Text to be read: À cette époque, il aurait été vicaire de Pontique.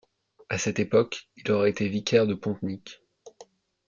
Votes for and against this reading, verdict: 1, 2, rejected